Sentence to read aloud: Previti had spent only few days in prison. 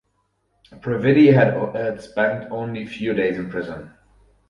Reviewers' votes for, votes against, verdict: 4, 0, accepted